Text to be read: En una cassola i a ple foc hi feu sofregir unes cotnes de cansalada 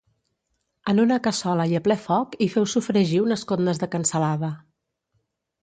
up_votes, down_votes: 2, 0